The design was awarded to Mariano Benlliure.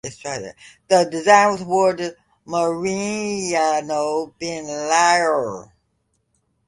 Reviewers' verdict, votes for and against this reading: rejected, 1, 2